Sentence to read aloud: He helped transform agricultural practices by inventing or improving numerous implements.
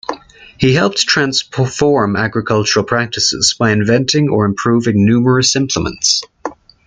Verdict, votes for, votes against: rejected, 1, 2